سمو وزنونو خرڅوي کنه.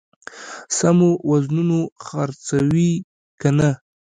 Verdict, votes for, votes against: rejected, 0, 2